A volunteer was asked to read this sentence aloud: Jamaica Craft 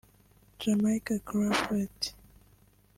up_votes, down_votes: 1, 2